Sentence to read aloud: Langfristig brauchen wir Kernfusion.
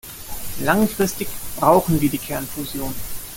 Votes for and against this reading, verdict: 0, 2, rejected